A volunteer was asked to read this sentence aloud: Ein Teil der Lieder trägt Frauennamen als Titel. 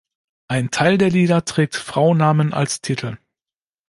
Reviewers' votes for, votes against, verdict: 2, 0, accepted